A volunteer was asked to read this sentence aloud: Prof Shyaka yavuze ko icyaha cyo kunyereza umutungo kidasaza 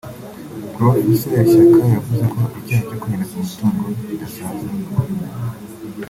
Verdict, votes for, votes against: rejected, 0, 2